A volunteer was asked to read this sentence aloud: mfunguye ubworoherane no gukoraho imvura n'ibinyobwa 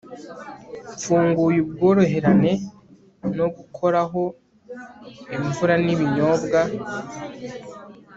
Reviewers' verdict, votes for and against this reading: accepted, 3, 0